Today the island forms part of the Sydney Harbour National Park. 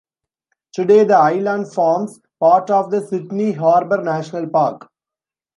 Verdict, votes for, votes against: accepted, 2, 0